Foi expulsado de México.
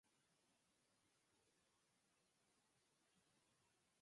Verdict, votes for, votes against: rejected, 0, 4